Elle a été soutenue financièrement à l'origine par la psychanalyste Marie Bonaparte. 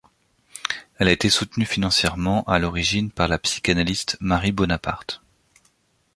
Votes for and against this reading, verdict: 2, 0, accepted